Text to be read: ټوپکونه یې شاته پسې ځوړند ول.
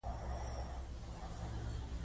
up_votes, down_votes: 0, 2